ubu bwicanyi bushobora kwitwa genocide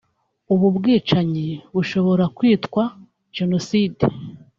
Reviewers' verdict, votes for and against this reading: accepted, 2, 0